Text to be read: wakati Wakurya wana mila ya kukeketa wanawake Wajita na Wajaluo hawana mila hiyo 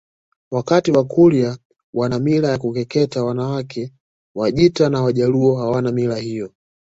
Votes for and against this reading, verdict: 2, 0, accepted